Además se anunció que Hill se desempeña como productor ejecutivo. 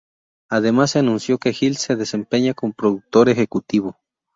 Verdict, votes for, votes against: accepted, 2, 0